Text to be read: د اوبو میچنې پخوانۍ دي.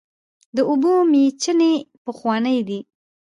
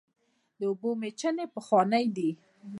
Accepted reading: second